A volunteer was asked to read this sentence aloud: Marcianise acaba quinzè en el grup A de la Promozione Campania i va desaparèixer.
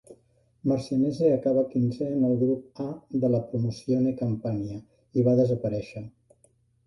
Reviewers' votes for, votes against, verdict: 2, 0, accepted